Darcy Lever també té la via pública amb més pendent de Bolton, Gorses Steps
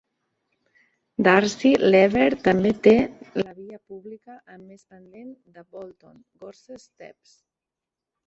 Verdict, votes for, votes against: rejected, 0, 2